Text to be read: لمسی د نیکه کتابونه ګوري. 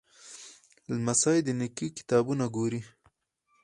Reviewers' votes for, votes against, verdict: 4, 0, accepted